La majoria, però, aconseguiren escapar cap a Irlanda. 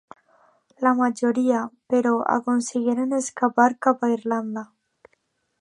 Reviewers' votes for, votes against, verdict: 2, 0, accepted